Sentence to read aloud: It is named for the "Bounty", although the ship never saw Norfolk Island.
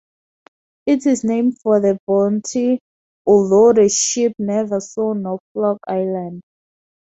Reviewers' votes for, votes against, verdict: 2, 2, rejected